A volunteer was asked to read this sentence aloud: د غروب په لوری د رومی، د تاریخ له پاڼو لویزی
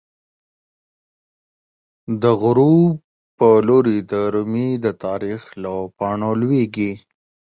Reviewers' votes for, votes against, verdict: 14, 0, accepted